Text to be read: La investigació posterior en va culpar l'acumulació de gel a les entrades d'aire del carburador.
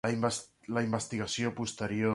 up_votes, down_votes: 0, 2